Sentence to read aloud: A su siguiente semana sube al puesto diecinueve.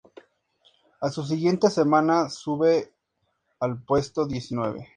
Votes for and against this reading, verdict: 4, 0, accepted